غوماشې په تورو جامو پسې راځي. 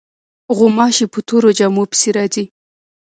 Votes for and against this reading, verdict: 1, 2, rejected